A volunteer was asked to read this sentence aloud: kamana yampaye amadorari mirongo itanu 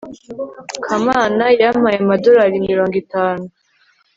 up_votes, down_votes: 2, 0